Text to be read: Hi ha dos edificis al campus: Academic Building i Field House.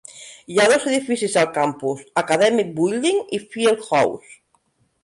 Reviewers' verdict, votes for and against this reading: rejected, 0, 2